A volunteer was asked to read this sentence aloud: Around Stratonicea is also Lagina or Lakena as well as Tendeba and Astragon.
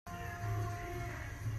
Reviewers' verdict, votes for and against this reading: rejected, 0, 2